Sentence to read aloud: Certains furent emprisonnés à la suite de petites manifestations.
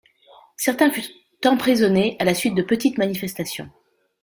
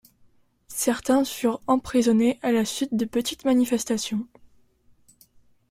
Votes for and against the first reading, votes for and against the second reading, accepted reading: 0, 2, 2, 0, second